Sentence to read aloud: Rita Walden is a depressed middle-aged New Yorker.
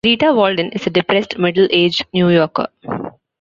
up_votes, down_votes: 2, 0